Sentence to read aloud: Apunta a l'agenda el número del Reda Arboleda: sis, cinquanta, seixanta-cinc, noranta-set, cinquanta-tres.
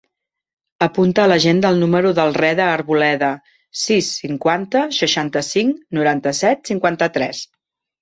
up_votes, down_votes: 4, 0